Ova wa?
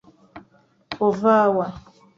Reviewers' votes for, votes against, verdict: 2, 0, accepted